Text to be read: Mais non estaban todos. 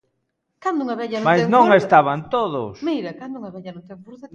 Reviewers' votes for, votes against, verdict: 0, 2, rejected